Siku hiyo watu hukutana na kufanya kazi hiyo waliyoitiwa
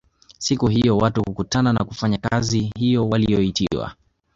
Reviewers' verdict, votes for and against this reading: accepted, 2, 1